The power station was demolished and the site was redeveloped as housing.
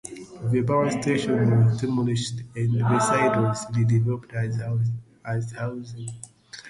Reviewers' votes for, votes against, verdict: 0, 2, rejected